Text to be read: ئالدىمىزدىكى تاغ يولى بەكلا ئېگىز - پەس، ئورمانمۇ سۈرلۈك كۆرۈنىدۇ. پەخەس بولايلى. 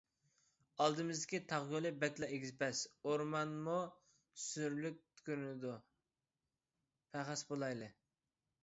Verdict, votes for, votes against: accepted, 2, 0